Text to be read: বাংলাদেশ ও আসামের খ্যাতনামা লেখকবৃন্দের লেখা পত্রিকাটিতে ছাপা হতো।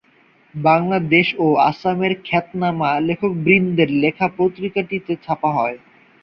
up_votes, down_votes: 3, 0